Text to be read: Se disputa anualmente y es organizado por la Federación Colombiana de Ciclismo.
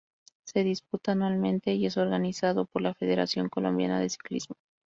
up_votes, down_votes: 2, 0